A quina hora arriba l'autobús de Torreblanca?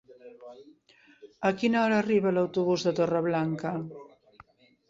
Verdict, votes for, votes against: rejected, 1, 2